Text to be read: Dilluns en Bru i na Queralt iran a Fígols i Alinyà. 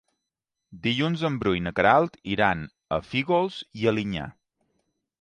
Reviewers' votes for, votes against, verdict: 3, 0, accepted